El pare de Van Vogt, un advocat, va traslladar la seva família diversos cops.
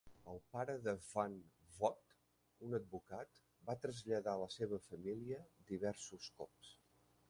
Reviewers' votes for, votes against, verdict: 0, 2, rejected